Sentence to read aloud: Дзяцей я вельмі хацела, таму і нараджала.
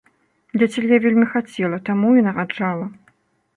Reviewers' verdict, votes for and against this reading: rejected, 0, 2